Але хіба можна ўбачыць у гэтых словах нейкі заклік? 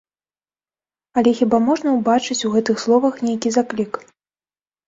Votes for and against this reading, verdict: 1, 2, rejected